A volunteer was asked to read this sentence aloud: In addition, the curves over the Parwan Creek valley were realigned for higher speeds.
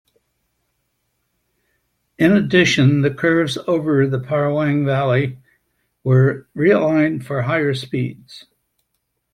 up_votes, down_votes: 1, 2